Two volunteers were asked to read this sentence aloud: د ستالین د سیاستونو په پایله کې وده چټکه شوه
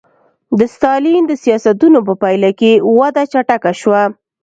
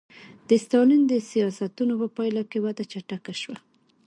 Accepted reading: second